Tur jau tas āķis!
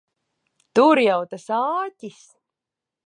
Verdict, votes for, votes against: accepted, 2, 0